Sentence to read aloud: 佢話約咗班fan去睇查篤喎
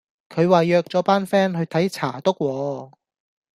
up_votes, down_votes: 2, 1